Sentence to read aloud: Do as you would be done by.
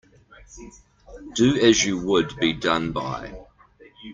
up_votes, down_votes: 0, 2